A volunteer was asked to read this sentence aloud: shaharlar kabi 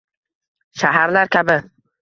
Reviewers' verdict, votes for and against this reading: rejected, 1, 2